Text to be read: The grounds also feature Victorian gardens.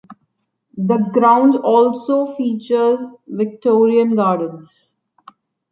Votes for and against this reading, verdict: 1, 2, rejected